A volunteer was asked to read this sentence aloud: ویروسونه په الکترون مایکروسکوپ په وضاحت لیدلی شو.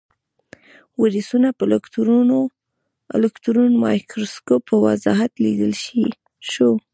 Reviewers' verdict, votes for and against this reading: accepted, 2, 0